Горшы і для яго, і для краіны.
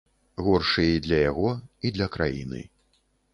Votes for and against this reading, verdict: 2, 0, accepted